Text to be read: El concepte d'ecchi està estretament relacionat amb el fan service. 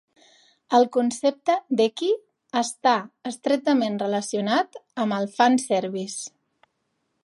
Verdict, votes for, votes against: accepted, 2, 0